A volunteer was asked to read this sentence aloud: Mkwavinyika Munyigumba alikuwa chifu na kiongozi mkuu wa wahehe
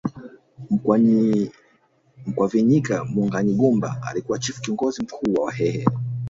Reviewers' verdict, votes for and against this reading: rejected, 1, 2